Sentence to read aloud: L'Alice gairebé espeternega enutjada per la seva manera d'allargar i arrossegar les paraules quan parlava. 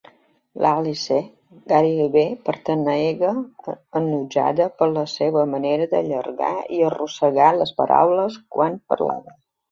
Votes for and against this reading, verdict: 0, 2, rejected